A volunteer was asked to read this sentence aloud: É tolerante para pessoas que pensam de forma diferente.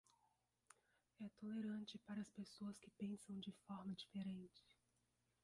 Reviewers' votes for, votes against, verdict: 0, 2, rejected